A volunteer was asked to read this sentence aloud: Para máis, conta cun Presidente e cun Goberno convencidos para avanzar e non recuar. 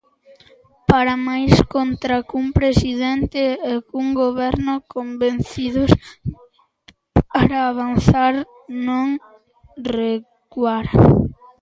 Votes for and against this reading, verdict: 0, 3, rejected